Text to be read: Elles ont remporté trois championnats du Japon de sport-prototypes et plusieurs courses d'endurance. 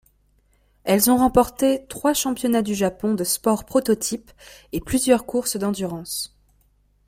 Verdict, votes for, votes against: accepted, 2, 0